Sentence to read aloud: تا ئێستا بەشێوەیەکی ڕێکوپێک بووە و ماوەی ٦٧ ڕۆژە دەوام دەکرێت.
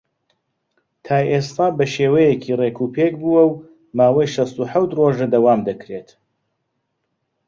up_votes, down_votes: 0, 2